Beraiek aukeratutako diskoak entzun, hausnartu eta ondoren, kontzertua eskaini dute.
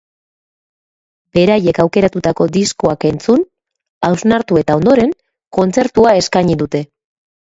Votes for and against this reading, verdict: 1, 2, rejected